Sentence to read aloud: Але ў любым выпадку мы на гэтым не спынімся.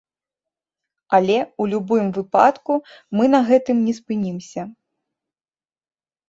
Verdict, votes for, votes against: rejected, 1, 2